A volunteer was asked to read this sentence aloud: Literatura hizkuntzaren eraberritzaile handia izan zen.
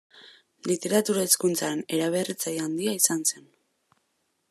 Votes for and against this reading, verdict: 0, 2, rejected